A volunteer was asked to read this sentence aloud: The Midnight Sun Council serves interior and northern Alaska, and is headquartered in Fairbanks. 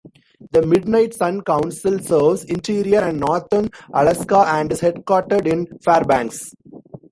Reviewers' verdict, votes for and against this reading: accepted, 2, 1